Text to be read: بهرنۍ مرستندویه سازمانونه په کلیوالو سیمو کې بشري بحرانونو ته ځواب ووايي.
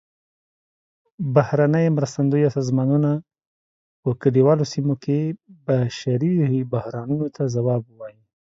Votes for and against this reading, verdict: 2, 0, accepted